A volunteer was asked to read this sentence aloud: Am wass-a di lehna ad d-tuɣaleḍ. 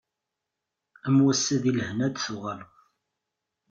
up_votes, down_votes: 2, 0